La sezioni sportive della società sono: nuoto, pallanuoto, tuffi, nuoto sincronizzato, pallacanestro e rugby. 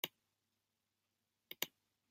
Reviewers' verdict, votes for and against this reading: rejected, 1, 3